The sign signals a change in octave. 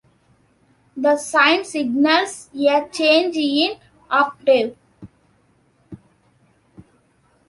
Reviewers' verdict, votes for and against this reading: accepted, 2, 0